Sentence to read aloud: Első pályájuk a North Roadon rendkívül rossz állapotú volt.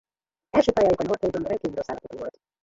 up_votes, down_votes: 0, 2